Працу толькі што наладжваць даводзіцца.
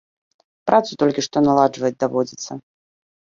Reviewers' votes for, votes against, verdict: 2, 0, accepted